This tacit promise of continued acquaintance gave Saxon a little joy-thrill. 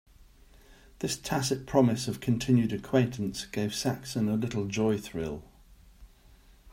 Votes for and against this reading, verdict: 2, 0, accepted